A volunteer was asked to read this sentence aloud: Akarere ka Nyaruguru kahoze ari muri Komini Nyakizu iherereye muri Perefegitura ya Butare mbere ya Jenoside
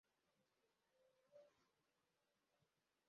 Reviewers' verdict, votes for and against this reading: rejected, 0, 2